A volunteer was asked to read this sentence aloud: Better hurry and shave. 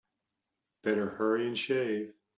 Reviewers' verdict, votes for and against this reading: accepted, 2, 0